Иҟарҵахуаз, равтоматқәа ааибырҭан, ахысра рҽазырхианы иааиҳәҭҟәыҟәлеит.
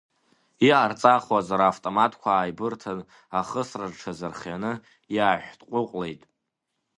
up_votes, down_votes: 2, 1